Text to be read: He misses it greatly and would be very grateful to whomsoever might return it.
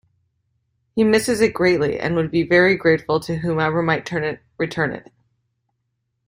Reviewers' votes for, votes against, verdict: 0, 2, rejected